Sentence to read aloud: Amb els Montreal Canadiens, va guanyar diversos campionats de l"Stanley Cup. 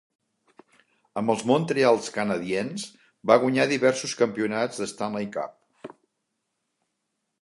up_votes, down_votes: 0, 2